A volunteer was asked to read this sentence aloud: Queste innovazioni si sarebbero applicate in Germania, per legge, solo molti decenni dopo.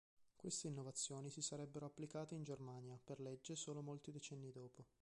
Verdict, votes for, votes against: rejected, 1, 2